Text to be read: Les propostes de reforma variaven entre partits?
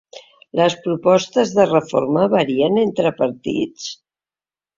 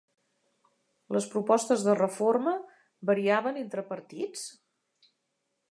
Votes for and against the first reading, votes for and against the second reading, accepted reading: 0, 2, 2, 0, second